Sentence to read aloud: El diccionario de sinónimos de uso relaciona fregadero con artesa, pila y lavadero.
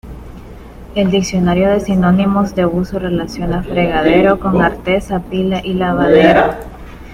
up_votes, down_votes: 0, 2